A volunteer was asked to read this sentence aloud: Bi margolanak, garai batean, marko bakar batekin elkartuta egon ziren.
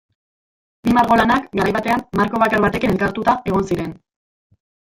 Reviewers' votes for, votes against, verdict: 0, 2, rejected